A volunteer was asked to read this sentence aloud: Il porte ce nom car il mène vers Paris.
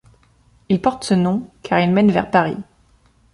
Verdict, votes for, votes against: accepted, 2, 0